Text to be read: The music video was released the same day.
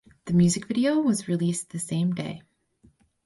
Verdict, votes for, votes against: accepted, 4, 0